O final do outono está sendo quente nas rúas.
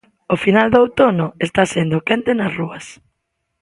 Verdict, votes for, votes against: accepted, 2, 0